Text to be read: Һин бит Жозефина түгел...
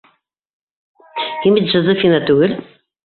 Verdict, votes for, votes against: rejected, 0, 2